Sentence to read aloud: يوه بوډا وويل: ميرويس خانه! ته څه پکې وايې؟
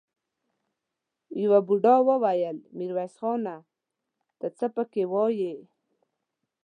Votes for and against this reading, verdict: 2, 0, accepted